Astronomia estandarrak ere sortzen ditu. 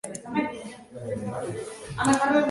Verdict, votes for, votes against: rejected, 0, 2